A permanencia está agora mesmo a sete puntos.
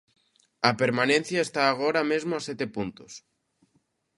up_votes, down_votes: 2, 0